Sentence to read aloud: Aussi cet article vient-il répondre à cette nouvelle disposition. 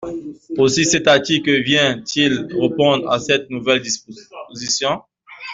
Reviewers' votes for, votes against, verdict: 0, 2, rejected